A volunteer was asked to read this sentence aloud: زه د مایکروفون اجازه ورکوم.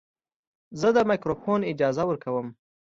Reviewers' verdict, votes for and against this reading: accepted, 2, 0